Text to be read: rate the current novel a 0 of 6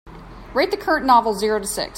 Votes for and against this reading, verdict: 0, 2, rejected